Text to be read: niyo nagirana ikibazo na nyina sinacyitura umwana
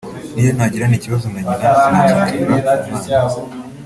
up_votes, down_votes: 1, 2